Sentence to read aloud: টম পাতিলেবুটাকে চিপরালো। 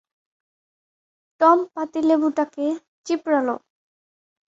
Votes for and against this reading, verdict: 2, 0, accepted